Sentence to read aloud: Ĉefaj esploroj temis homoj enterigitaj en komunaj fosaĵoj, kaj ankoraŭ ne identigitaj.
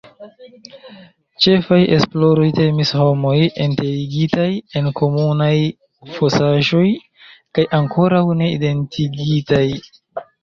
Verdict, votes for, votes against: accepted, 2, 0